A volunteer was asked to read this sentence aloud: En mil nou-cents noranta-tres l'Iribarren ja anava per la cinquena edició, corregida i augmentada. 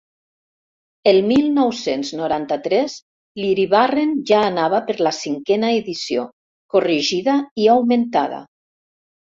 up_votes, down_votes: 0, 2